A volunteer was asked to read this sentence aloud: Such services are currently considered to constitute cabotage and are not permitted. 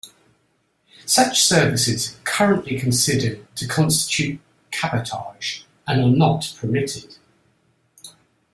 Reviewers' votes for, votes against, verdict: 1, 2, rejected